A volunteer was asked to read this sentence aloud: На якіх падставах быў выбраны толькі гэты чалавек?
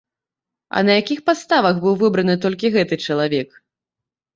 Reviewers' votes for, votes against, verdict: 2, 3, rejected